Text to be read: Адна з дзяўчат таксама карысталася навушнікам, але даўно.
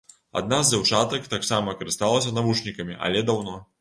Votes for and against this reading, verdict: 0, 2, rejected